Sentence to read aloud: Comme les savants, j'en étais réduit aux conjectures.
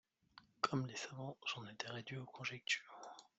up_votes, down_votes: 2, 3